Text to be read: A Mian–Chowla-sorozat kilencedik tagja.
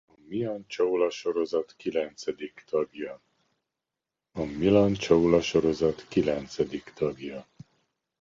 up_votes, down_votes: 0, 2